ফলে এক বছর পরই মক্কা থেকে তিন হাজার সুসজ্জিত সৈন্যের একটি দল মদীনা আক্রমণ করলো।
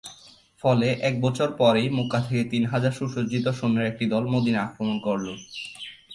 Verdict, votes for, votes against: accepted, 4, 2